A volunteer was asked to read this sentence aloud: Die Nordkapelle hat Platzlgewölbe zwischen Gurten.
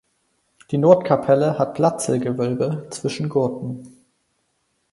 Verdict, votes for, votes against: accepted, 4, 0